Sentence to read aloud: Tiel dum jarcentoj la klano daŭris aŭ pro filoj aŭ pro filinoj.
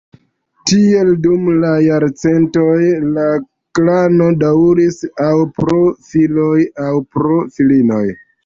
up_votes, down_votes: 0, 2